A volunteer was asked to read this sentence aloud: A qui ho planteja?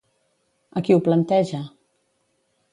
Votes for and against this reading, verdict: 2, 0, accepted